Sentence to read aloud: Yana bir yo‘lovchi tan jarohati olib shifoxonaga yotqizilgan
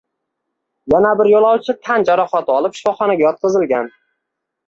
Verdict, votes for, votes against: accepted, 2, 0